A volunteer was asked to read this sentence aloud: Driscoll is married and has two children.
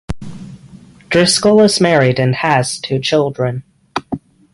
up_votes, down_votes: 6, 0